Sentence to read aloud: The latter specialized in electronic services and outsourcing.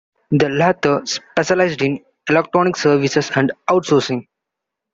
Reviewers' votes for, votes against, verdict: 2, 1, accepted